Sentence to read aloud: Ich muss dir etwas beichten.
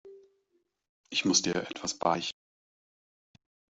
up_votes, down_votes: 1, 2